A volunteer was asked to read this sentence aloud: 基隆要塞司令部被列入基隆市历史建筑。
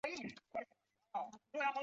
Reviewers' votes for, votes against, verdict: 1, 2, rejected